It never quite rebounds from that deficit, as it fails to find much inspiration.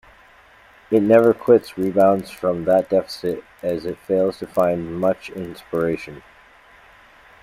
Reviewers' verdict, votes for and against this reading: rejected, 0, 2